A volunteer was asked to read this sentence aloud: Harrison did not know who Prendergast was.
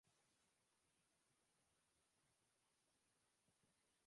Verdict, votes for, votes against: rejected, 0, 2